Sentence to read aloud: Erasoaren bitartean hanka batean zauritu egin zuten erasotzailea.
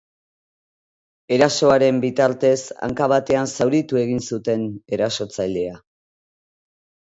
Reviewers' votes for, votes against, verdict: 2, 2, rejected